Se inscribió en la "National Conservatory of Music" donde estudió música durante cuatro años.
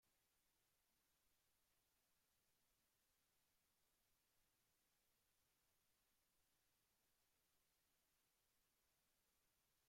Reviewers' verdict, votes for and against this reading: rejected, 1, 2